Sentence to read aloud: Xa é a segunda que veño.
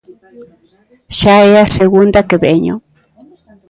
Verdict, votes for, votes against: rejected, 0, 2